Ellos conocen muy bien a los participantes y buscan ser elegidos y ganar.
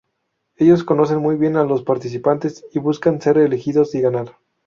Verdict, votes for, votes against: accepted, 2, 0